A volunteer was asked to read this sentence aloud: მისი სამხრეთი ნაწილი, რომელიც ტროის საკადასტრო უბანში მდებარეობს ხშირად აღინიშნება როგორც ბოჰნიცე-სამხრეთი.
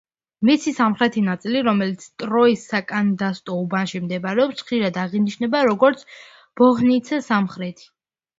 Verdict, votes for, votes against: rejected, 0, 2